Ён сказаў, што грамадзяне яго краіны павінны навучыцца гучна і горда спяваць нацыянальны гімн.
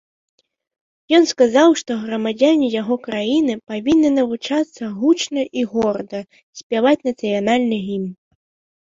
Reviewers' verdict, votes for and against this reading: rejected, 1, 3